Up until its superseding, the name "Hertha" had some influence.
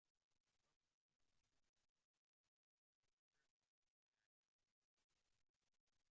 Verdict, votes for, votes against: rejected, 0, 2